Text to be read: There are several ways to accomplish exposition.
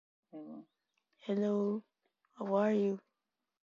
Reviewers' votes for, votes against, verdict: 0, 2, rejected